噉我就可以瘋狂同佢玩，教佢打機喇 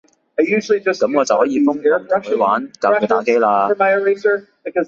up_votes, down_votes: 1, 2